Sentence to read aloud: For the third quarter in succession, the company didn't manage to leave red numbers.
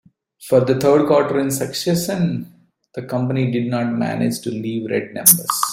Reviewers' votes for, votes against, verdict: 0, 2, rejected